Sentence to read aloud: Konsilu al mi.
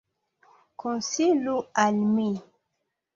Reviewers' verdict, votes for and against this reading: accepted, 2, 0